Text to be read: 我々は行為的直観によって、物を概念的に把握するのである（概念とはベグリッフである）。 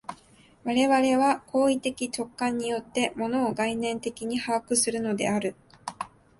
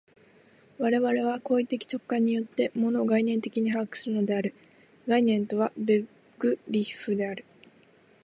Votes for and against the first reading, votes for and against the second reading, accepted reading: 0, 2, 3, 0, second